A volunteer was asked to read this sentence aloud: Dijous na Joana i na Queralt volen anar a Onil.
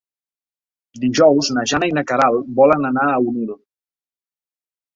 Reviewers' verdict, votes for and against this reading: rejected, 0, 2